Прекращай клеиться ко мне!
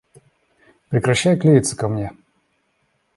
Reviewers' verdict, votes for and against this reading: accepted, 2, 0